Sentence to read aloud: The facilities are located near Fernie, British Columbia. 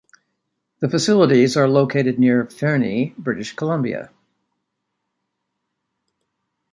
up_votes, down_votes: 2, 0